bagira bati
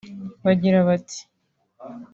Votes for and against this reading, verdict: 4, 0, accepted